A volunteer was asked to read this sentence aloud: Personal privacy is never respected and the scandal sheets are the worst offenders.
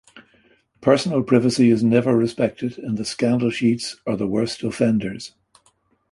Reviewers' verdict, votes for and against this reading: accepted, 3, 0